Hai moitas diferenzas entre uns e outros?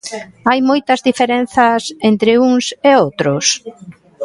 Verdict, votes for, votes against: accepted, 2, 0